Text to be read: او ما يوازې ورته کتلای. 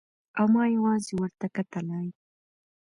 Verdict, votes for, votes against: accepted, 2, 0